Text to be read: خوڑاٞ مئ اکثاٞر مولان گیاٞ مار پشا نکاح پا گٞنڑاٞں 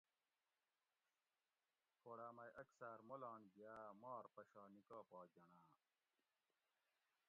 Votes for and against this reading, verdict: 1, 2, rejected